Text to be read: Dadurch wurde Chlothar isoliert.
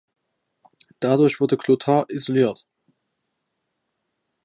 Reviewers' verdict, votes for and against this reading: accepted, 2, 0